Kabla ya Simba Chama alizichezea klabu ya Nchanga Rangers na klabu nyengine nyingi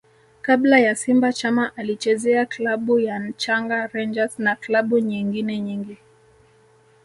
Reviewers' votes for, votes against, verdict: 1, 2, rejected